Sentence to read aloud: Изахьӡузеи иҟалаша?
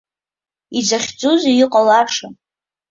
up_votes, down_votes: 2, 1